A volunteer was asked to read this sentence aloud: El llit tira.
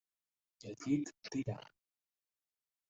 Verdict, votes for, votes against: rejected, 1, 2